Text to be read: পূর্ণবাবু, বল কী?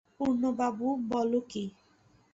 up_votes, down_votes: 0, 2